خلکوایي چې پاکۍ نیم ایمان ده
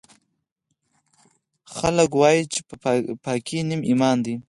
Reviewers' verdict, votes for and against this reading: accepted, 4, 0